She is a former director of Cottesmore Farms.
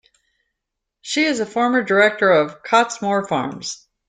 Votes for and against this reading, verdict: 2, 0, accepted